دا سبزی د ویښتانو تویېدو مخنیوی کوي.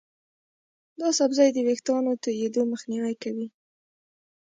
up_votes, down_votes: 0, 2